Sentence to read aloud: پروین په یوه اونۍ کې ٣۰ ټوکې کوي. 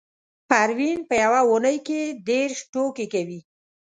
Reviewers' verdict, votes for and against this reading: rejected, 0, 2